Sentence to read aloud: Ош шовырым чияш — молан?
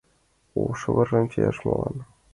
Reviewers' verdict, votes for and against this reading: accepted, 2, 1